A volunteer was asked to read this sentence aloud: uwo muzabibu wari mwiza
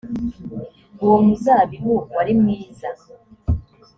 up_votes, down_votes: 4, 0